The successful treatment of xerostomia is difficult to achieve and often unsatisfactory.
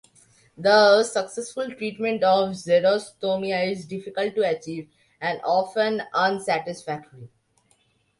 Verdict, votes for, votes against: accepted, 2, 0